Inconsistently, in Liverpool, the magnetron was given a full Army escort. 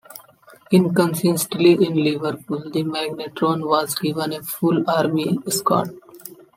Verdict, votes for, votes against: accepted, 2, 0